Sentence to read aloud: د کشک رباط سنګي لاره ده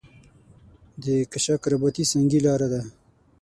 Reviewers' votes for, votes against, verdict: 3, 6, rejected